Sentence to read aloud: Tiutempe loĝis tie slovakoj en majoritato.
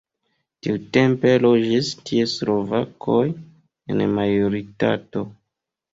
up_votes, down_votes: 0, 2